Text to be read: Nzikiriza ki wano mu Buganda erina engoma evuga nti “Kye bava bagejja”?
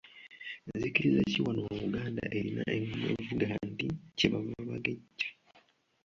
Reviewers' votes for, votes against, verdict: 1, 3, rejected